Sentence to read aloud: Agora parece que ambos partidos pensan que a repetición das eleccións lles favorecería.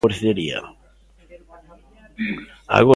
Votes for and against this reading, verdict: 0, 2, rejected